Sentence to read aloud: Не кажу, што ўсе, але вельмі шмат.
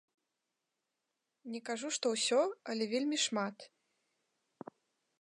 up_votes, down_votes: 1, 3